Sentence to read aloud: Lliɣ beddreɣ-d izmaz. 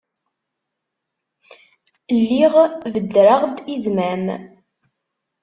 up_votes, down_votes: 1, 2